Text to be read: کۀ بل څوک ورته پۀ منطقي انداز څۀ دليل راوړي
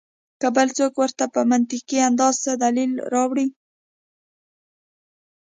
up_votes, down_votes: 2, 0